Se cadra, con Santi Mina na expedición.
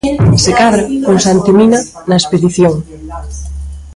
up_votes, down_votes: 1, 2